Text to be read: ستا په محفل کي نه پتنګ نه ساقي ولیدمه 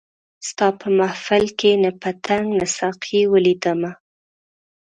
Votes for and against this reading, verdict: 5, 0, accepted